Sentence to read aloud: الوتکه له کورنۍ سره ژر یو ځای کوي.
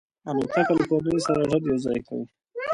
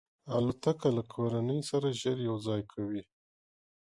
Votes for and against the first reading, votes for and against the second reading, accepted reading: 0, 2, 2, 0, second